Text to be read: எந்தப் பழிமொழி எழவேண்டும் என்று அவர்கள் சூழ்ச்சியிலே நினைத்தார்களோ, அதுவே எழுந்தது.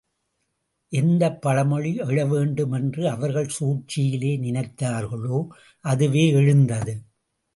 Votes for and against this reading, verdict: 2, 0, accepted